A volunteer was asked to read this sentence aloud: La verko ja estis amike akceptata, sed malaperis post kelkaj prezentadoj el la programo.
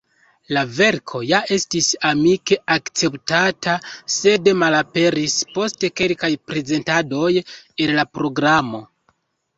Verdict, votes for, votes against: accepted, 2, 0